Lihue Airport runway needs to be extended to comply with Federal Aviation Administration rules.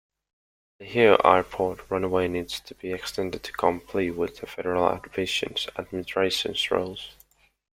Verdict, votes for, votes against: rejected, 0, 2